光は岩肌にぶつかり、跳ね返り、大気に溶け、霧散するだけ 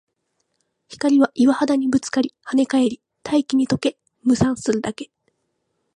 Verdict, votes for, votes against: accepted, 3, 0